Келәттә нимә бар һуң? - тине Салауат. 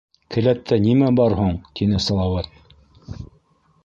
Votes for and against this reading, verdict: 1, 2, rejected